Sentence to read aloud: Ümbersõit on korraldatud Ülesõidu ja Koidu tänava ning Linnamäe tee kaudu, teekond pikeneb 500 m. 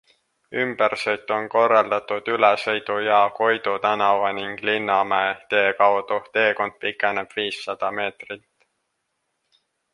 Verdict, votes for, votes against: rejected, 0, 2